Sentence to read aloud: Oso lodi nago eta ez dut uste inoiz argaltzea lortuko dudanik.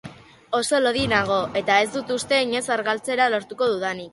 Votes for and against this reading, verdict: 2, 1, accepted